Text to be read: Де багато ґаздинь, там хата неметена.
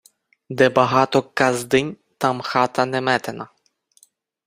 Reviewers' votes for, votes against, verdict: 4, 0, accepted